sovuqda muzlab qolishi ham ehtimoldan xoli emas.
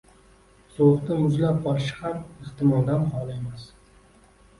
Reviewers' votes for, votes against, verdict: 1, 2, rejected